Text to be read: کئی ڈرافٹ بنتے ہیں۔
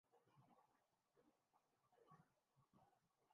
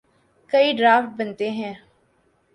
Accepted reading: second